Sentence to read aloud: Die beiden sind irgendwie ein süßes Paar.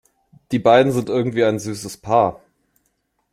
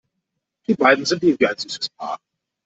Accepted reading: first